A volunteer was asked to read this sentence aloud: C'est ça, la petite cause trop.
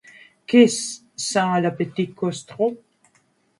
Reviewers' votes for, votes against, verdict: 0, 2, rejected